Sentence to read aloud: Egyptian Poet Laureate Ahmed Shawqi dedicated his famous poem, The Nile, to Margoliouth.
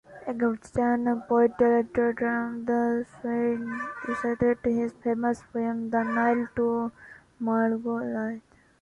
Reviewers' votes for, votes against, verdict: 0, 2, rejected